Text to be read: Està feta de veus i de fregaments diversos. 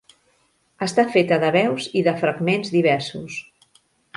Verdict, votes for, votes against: rejected, 1, 2